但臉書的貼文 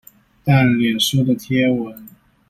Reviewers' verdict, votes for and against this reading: rejected, 1, 2